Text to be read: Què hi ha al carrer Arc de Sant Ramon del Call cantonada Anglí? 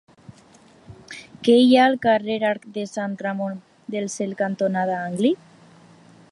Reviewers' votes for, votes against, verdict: 0, 2, rejected